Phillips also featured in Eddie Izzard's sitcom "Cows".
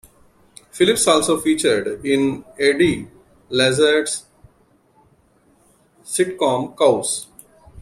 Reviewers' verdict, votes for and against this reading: rejected, 0, 2